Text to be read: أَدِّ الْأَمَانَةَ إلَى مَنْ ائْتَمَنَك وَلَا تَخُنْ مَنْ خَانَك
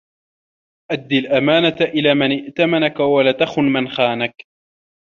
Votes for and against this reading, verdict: 2, 0, accepted